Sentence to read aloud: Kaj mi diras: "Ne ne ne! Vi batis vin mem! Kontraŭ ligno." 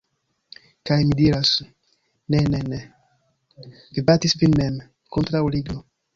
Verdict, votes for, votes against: rejected, 1, 2